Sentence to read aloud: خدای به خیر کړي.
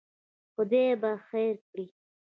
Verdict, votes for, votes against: accepted, 3, 1